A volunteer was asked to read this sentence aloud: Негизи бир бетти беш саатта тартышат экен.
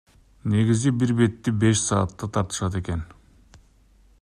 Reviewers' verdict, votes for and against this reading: accepted, 2, 1